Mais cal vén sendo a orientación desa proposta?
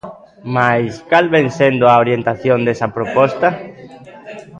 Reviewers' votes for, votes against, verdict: 0, 2, rejected